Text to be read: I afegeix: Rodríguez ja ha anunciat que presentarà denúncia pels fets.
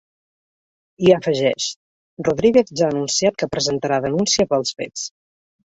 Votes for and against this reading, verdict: 3, 0, accepted